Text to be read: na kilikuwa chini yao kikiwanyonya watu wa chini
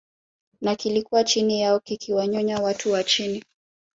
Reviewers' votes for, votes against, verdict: 1, 2, rejected